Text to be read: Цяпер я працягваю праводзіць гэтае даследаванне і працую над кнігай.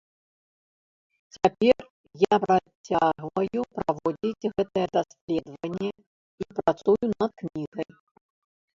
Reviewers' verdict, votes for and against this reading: rejected, 0, 2